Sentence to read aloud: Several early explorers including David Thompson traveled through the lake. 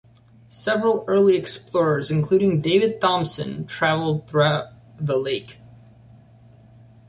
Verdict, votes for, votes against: rejected, 0, 2